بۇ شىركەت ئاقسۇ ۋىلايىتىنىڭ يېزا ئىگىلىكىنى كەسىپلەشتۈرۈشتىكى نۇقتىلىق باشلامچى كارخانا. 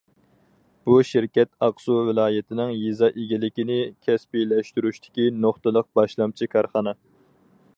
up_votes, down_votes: 0, 4